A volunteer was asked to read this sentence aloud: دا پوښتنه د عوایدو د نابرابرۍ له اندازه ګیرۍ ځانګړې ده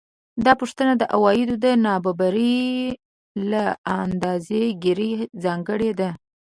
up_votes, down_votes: 0, 2